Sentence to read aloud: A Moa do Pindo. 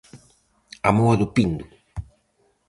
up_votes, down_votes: 4, 0